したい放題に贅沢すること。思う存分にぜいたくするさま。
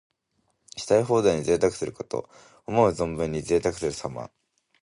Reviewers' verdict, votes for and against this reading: accepted, 2, 0